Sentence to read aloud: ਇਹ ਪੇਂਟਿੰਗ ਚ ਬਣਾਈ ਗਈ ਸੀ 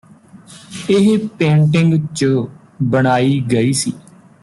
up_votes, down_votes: 2, 0